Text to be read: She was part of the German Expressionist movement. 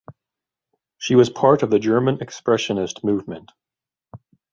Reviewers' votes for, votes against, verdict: 2, 0, accepted